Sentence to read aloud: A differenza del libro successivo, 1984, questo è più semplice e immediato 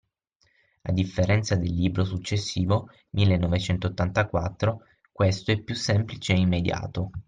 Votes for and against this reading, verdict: 0, 2, rejected